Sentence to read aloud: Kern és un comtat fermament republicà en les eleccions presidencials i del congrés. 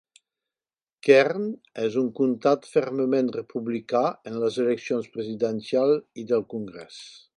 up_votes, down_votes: 1, 2